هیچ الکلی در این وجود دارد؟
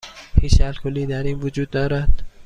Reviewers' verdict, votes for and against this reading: accepted, 2, 0